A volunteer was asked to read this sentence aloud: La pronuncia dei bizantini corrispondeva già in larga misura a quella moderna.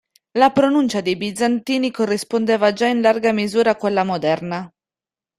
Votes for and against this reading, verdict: 2, 0, accepted